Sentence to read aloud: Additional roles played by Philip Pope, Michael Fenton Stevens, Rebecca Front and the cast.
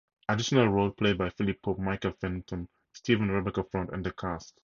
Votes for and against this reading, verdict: 0, 2, rejected